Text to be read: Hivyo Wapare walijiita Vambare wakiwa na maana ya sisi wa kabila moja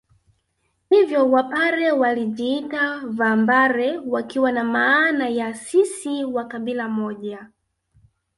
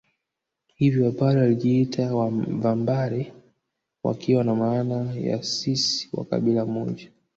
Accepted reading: second